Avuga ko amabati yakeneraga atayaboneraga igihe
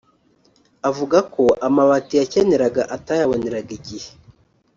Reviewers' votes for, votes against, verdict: 1, 2, rejected